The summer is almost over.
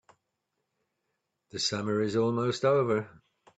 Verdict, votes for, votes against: accepted, 3, 0